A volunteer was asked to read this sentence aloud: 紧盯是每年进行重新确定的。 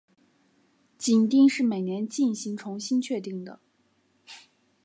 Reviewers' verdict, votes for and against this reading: accepted, 3, 0